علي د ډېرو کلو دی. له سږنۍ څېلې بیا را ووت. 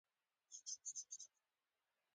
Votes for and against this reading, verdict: 1, 3, rejected